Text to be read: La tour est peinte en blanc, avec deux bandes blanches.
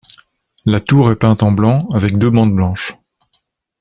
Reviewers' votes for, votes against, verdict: 2, 0, accepted